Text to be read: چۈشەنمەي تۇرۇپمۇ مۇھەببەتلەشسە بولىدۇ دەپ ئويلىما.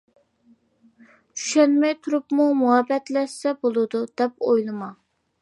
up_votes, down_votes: 2, 0